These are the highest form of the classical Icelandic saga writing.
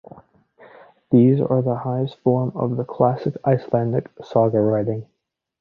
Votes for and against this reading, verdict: 0, 2, rejected